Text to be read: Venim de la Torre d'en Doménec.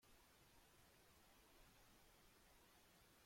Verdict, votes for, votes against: rejected, 0, 2